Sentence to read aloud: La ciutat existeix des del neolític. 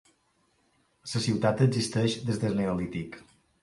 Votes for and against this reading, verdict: 0, 2, rejected